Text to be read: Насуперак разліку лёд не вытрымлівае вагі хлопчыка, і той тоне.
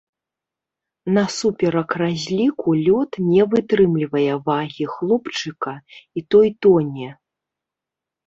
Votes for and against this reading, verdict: 1, 2, rejected